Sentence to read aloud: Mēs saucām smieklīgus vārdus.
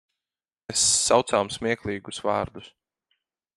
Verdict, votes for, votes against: rejected, 0, 4